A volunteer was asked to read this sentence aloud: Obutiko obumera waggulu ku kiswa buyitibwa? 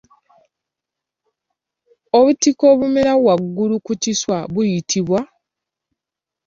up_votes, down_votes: 2, 0